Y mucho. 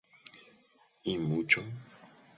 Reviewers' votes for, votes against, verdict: 2, 2, rejected